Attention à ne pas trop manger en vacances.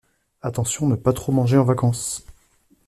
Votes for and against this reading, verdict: 2, 0, accepted